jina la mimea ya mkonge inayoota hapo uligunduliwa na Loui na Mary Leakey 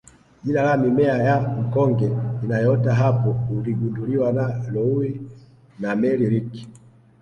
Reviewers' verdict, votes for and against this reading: rejected, 1, 2